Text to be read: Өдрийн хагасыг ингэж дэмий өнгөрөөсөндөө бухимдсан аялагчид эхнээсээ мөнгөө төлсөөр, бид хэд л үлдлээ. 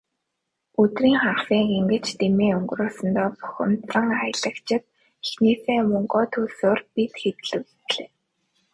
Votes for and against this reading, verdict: 1, 2, rejected